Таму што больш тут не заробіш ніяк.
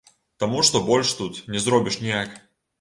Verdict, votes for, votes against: rejected, 0, 2